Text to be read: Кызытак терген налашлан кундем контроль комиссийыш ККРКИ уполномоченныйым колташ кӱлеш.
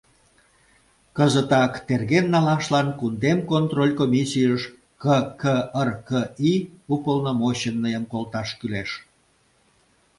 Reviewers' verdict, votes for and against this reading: accepted, 2, 0